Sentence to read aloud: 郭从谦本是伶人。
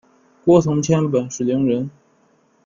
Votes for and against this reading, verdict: 1, 2, rejected